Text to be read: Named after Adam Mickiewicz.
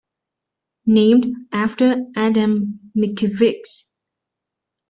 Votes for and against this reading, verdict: 2, 0, accepted